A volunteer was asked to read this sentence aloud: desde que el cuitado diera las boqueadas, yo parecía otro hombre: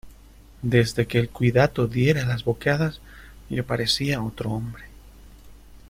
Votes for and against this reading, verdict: 1, 2, rejected